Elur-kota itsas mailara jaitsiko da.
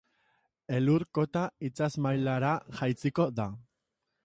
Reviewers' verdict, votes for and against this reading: accepted, 2, 0